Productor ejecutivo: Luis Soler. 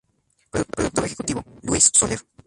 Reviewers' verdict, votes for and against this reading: rejected, 0, 2